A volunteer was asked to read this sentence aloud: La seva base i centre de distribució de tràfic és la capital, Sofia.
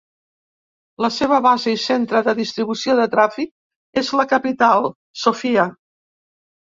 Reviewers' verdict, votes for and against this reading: accepted, 2, 0